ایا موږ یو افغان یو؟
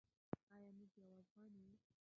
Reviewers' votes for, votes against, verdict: 1, 2, rejected